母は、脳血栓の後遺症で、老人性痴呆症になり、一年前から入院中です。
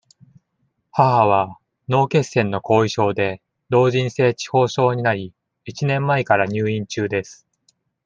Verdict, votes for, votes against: accepted, 2, 0